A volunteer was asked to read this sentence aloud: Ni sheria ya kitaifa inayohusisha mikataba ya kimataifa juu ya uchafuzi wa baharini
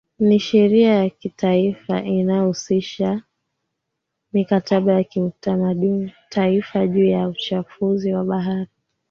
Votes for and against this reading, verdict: 1, 2, rejected